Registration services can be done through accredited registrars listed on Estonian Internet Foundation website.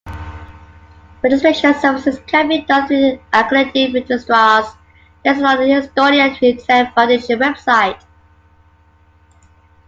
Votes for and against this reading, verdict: 2, 0, accepted